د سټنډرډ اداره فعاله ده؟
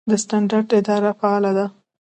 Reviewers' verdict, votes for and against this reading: accepted, 2, 0